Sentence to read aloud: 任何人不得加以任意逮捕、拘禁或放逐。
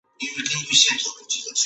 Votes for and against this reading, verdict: 3, 1, accepted